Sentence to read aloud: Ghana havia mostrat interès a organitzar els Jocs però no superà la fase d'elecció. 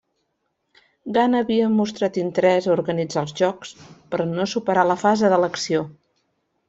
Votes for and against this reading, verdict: 2, 1, accepted